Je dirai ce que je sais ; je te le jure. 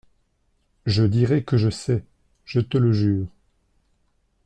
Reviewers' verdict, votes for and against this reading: rejected, 0, 2